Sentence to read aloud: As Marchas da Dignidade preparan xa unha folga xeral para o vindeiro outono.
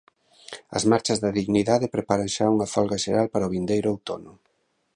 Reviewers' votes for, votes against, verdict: 2, 0, accepted